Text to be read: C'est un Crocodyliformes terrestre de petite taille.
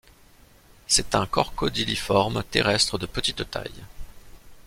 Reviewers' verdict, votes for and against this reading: rejected, 1, 2